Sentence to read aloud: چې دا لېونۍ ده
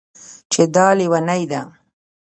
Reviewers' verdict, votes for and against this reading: rejected, 1, 2